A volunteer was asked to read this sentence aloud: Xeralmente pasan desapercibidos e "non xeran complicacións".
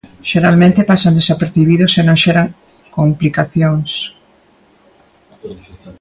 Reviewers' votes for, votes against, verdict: 2, 1, accepted